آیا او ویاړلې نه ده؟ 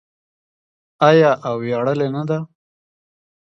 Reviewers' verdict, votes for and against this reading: rejected, 1, 2